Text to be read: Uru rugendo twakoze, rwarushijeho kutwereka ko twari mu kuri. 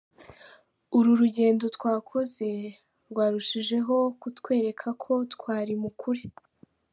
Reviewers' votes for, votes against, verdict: 1, 2, rejected